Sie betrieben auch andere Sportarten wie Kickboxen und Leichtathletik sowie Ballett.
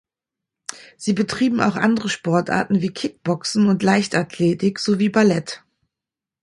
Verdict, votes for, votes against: accepted, 2, 0